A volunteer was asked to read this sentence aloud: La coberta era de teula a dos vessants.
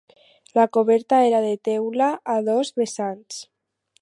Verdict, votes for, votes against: accepted, 4, 0